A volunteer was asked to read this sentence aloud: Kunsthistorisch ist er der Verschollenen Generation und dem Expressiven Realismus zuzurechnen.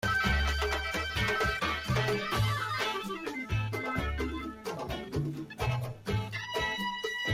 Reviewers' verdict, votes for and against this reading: rejected, 0, 2